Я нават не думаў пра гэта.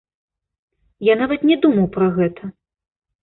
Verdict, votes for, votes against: accepted, 2, 0